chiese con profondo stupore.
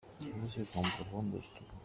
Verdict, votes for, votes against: rejected, 0, 2